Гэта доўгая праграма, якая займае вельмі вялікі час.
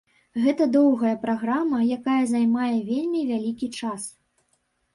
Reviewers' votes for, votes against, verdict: 2, 0, accepted